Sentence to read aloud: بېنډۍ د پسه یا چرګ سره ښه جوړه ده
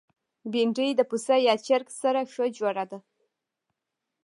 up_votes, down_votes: 1, 2